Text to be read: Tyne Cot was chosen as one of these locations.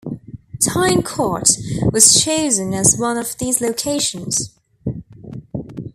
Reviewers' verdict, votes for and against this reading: accepted, 2, 0